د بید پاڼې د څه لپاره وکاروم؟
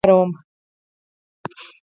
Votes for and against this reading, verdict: 0, 4, rejected